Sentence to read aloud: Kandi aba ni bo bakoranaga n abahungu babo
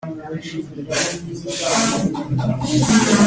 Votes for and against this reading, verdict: 0, 2, rejected